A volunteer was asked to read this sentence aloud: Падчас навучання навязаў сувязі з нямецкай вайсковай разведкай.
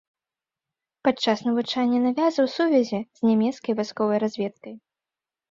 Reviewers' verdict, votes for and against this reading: rejected, 0, 2